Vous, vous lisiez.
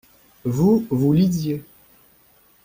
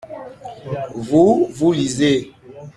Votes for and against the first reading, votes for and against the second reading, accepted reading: 2, 0, 0, 2, first